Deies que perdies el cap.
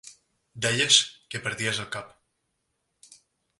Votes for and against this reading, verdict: 3, 0, accepted